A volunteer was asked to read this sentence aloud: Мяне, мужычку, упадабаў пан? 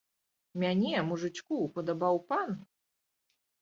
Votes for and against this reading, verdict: 0, 2, rejected